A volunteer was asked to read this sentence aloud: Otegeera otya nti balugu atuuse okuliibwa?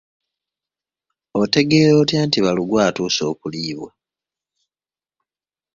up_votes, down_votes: 2, 0